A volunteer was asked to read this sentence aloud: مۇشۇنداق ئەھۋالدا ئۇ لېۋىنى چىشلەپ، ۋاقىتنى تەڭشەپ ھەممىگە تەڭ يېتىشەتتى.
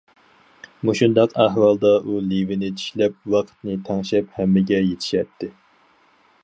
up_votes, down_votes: 0, 4